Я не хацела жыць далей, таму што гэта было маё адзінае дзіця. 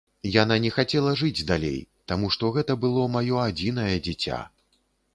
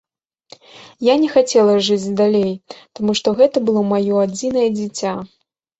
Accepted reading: second